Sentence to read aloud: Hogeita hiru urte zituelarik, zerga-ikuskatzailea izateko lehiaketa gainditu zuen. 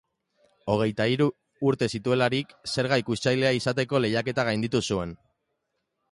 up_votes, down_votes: 5, 1